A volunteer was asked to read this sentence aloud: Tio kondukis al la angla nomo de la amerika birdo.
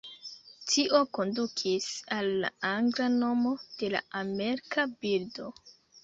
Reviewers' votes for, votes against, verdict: 0, 2, rejected